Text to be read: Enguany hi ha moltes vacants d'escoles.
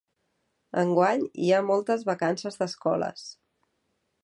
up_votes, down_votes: 0, 2